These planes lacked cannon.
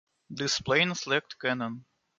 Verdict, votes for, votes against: accepted, 2, 1